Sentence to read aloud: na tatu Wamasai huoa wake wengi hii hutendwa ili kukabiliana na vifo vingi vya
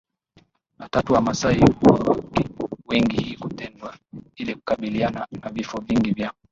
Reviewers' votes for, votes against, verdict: 0, 2, rejected